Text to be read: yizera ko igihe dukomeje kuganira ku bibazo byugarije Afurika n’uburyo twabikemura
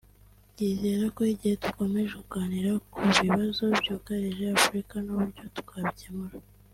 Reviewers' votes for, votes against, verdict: 2, 0, accepted